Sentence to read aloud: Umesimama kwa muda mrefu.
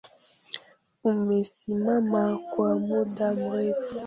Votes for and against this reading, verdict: 0, 2, rejected